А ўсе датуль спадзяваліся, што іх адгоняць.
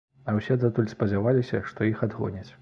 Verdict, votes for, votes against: accepted, 2, 0